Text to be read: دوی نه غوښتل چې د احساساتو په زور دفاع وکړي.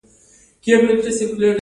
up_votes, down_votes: 2, 0